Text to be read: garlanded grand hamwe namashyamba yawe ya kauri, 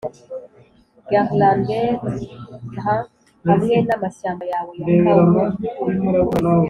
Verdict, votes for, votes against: accepted, 3, 0